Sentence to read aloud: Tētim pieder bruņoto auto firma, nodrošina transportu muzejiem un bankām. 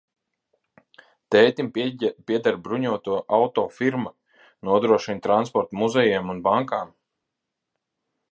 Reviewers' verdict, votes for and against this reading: rejected, 0, 2